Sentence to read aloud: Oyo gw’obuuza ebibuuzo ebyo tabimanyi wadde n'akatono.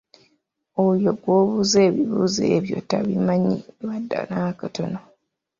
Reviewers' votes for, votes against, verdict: 2, 1, accepted